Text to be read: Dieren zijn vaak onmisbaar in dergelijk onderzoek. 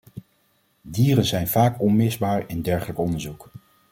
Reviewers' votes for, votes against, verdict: 2, 0, accepted